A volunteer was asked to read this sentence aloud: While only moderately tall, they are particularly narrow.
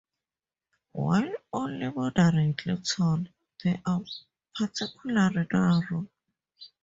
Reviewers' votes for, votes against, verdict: 2, 4, rejected